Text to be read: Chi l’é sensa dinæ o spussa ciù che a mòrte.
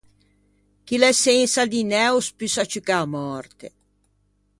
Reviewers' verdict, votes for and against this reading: accepted, 2, 0